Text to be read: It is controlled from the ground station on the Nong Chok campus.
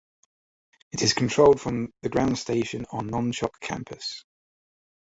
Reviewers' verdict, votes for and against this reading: rejected, 1, 2